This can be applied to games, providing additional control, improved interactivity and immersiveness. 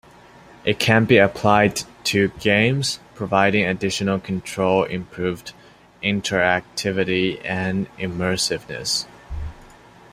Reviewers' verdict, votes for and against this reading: rejected, 1, 2